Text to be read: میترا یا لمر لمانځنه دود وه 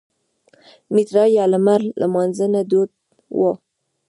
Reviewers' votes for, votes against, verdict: 0, 2, rejected